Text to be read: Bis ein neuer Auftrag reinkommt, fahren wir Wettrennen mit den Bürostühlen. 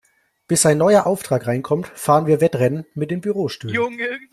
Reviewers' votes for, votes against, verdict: 1, 2, rejected